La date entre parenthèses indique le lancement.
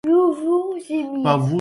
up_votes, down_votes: 0, 2